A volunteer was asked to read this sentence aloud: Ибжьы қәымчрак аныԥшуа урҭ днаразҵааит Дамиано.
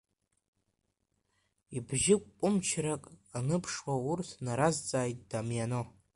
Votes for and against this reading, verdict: 1, 2, rejected